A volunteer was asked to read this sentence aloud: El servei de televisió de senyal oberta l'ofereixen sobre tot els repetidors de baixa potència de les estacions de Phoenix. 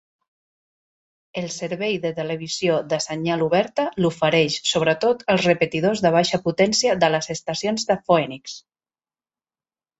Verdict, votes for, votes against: rejected, 0, 2